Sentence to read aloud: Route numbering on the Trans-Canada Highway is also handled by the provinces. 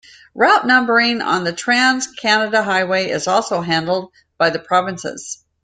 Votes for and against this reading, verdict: 2, 0, accepted